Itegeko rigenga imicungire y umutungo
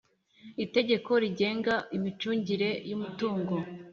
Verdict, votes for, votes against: accepted, 3, 0